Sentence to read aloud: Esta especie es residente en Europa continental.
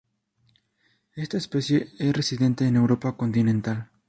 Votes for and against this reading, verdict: 2, 2, rejected